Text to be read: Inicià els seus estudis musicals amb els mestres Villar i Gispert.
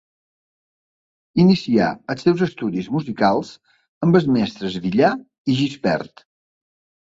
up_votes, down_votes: 2, 0